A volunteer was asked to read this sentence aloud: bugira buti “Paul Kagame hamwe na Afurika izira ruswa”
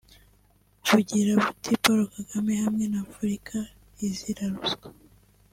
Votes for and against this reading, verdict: 2, 0, accepted